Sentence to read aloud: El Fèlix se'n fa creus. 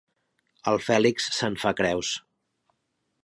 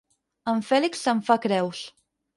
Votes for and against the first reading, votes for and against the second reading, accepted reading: 3, 0, 2, 4, first